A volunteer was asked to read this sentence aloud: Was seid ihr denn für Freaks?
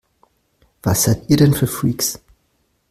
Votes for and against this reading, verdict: 2, 0, accepted